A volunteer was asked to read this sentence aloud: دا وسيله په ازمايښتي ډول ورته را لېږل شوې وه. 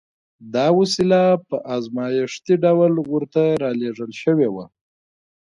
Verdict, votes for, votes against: accepted, 2, 0